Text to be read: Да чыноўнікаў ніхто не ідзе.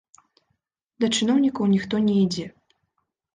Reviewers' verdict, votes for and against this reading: accepted, 2, 0